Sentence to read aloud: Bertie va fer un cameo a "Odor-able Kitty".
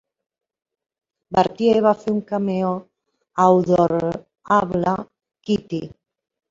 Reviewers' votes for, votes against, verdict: 2, 0, accepted